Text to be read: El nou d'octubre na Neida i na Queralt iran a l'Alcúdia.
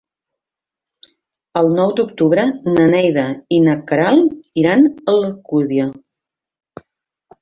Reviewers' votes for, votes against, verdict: 2, 1, accepted